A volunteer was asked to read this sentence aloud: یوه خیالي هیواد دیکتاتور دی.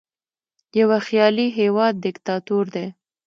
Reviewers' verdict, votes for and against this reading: accepted, 2, 0